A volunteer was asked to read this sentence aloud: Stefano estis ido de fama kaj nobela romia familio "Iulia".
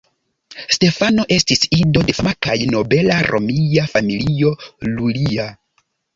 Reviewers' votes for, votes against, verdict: 2, 0, accepted